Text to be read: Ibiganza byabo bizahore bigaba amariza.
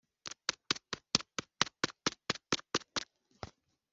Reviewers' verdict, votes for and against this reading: rejected, 0, 2